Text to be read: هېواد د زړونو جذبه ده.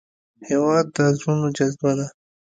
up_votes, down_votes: 2, 0